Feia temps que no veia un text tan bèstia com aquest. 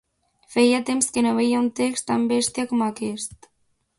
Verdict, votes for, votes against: accepted, 2, 0